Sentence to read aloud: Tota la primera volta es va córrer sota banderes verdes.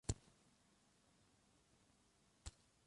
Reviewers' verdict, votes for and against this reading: rejected, 0, 2